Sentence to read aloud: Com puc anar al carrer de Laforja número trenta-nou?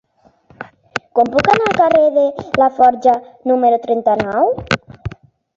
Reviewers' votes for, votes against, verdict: 3, 0, accepted